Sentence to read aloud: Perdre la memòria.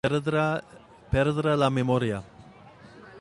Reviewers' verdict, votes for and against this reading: rejected, 0, 3